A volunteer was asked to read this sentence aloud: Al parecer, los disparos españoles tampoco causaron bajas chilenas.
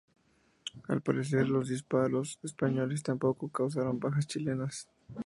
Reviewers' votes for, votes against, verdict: 2, 2, rejected